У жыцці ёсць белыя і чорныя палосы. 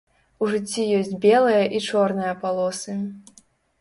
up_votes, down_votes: 2, 0